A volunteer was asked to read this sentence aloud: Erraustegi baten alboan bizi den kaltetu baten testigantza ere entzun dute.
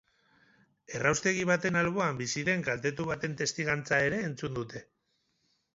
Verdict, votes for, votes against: accepted, 8, 0